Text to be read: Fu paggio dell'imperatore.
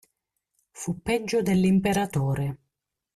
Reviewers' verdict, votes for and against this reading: rejected, 0, 2